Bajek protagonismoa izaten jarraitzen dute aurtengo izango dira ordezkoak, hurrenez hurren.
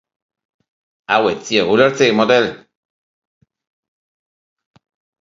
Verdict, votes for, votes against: rejected, 0, 3